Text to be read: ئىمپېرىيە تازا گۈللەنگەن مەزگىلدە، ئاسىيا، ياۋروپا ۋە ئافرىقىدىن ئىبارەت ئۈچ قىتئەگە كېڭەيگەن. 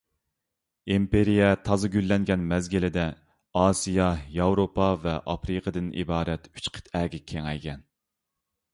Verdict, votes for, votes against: rejected, 1, 2